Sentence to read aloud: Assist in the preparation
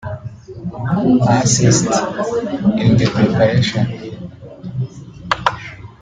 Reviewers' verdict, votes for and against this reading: rejected, 0, 2